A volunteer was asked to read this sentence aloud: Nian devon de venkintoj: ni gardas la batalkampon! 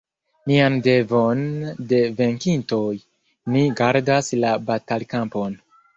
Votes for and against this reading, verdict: 1, 2, rejected